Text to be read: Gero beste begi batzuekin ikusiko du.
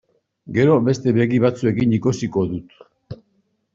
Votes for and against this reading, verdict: 0, 3, rejected